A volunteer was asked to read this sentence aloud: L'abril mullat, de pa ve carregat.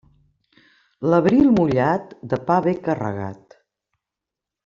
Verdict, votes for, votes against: accepted, 2, 0